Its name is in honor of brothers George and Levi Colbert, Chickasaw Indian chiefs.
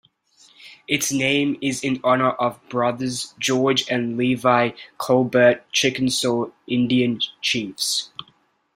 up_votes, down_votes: 0, 2